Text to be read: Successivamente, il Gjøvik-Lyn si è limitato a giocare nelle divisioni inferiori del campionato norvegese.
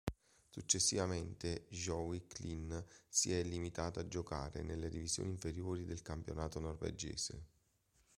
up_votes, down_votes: 2, 0